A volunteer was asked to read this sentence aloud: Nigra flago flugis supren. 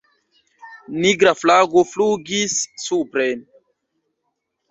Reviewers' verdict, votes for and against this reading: rejected, 0, 2